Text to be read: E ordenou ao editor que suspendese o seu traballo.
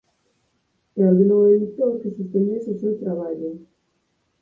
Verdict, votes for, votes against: rejected, 2, 4